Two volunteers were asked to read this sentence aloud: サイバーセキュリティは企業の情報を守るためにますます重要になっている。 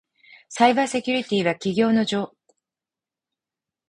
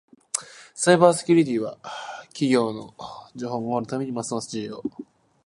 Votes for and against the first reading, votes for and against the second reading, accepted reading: 0, 4, 2, 0, second